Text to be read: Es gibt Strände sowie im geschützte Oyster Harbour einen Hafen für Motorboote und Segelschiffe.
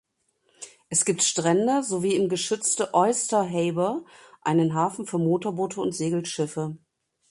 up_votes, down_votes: 1, 2